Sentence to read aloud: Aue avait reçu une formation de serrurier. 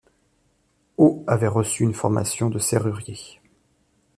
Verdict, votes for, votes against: accepted, 2, 0